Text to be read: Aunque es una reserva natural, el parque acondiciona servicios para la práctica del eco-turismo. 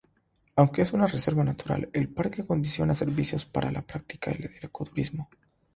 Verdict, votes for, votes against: accepted, 6, 0